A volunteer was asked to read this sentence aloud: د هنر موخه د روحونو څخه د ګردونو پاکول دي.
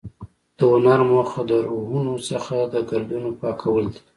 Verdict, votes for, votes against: accepted, 2, 0